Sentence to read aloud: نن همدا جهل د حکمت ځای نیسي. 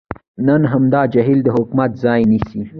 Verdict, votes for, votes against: rejected, 0, 2